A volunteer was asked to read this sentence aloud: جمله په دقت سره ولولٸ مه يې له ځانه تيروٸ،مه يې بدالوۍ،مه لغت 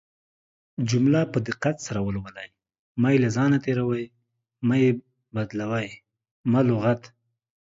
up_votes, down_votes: 2, 0